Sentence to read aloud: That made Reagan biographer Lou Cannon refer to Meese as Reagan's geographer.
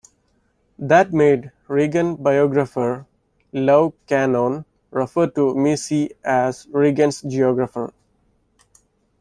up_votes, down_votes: 1, 2